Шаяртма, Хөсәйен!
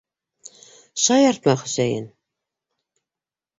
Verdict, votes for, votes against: accepted, 2, 0